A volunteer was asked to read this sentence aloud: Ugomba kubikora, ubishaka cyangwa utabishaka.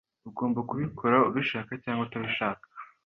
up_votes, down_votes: 2, 0